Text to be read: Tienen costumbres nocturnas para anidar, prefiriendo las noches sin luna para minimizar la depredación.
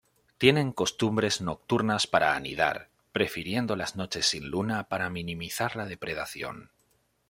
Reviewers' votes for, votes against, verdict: 2, 0, accepted